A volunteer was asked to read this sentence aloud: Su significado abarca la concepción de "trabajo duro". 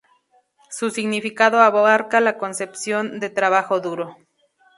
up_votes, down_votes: 0, 2